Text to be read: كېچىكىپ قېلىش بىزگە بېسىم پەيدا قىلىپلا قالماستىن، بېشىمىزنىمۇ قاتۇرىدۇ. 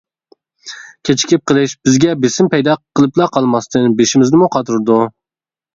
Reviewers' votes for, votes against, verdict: 2, 0, accepted